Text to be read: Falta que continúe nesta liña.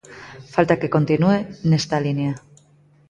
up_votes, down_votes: 2, 0